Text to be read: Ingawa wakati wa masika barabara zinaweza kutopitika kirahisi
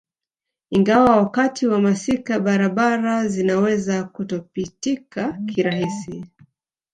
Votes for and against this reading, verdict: 1, 2, rejected